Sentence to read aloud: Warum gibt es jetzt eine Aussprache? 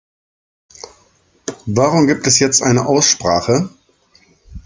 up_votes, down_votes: 2, 0